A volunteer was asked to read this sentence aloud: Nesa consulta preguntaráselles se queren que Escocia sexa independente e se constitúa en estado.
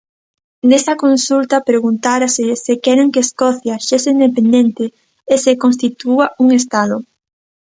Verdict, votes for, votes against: rejected, 0, 2